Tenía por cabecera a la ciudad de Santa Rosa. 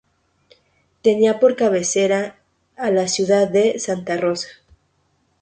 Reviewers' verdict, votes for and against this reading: rejected, 2, 2